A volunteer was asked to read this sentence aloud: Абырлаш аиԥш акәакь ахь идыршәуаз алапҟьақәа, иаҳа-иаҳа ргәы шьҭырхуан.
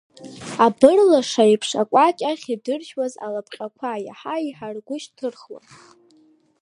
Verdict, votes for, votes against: rejected, 1, 2